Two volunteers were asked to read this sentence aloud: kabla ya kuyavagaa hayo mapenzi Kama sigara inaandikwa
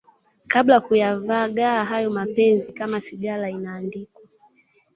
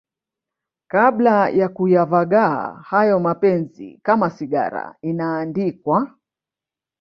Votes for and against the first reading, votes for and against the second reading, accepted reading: 2, 0, 0, 2, first